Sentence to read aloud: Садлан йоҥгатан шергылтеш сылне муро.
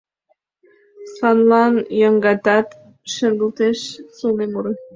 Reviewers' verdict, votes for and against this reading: rejected, 0, 2